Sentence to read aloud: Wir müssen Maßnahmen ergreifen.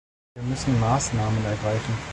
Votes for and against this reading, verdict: 2, 0, accepted